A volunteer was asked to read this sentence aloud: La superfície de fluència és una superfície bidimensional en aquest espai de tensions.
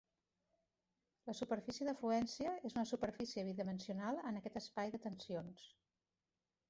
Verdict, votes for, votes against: accepted, 3, 0